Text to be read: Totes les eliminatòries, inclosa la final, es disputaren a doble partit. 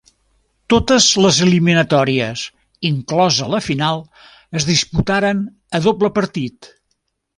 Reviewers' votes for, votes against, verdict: 2, 0, accepted